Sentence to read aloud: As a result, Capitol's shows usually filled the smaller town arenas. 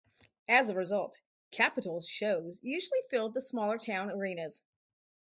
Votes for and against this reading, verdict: 4, 0, accepted